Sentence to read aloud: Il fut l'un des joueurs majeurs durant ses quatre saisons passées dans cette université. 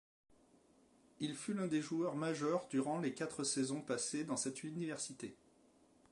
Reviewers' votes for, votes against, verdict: 0, 2, rejected